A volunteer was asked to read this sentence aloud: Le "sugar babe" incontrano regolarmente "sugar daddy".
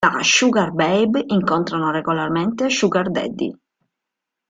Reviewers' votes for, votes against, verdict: 2, 0, accepted